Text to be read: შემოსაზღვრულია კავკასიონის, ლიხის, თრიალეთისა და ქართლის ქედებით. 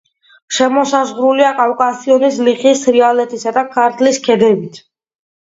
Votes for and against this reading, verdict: 2, 1, accepted